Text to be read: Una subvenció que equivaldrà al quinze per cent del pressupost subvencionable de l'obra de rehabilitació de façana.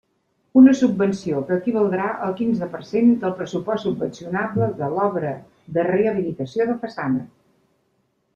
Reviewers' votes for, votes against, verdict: 2, 0, accepted